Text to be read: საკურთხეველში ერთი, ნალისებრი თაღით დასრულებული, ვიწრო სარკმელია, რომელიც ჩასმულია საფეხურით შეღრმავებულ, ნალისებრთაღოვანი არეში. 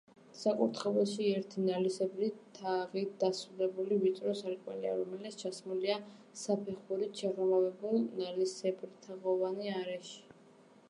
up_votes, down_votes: 2, 0